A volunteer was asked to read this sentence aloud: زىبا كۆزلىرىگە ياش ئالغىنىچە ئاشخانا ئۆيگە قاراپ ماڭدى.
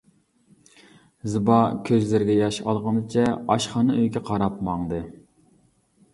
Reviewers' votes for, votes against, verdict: 2, 0, accepted